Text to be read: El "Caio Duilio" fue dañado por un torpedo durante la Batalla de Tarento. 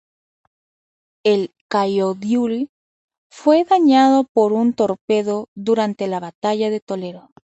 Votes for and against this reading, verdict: 2, 2, rejected